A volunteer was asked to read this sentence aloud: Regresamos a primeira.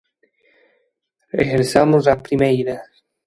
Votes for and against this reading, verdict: 2, 0, accepted